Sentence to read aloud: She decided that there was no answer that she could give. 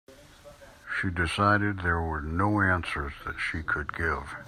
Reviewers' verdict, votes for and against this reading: rejected, 0, 2